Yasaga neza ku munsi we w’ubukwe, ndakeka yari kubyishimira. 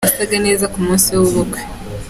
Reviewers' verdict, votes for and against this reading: rejected, 1, 2